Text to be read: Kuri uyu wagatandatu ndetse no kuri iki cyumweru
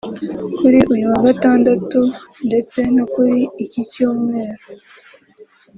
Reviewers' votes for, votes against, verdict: 2, 0, accepted